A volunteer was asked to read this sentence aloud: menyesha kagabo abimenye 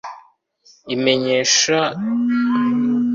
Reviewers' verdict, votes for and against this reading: rejected, 0, 2